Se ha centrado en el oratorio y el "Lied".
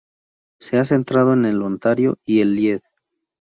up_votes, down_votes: 0, 2